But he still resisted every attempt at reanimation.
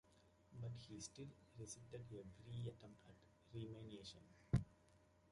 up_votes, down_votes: 0, 2